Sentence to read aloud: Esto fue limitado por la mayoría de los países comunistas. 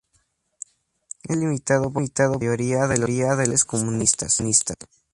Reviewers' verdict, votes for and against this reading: rejected, 0, 2